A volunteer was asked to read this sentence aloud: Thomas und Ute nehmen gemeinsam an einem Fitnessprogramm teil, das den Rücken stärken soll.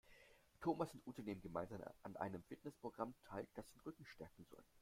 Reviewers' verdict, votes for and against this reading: accepted, 2, 0